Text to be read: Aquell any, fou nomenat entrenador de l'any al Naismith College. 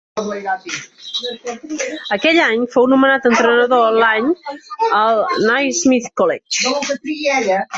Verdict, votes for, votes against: rejected, 0, 3